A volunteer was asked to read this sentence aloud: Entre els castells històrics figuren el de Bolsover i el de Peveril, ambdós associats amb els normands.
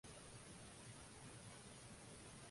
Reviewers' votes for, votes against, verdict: 0, 2, rejected